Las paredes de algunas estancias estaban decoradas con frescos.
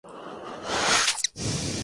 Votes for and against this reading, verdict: 0, 2, rejected